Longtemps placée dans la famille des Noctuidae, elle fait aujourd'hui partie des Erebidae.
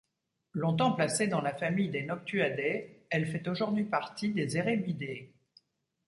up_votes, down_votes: 1, 2